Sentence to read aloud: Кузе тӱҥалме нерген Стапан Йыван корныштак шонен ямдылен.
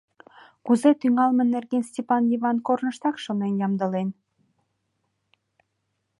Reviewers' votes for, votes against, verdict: 0, 2, rejected